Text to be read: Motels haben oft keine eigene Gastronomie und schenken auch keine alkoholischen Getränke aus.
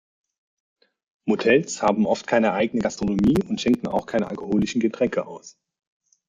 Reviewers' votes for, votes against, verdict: 2, 1, accepted